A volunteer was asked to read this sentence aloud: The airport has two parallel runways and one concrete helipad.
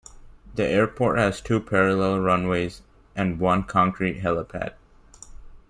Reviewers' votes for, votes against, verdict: 2, 1, accepted